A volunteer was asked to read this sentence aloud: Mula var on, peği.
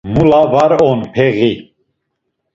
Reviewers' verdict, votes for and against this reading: accepted, 2, 0